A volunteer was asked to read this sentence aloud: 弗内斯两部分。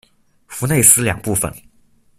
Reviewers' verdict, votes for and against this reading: accepted, 2, 0